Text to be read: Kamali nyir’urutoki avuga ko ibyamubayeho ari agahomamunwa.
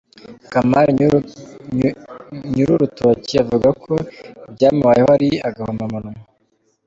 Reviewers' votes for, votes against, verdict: 1, 2, rejected